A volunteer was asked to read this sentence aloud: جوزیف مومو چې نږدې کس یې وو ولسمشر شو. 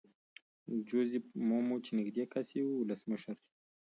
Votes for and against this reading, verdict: 2, 1, accepted